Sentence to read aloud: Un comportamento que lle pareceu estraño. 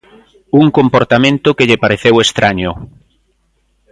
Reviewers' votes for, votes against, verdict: 2, 0, accepted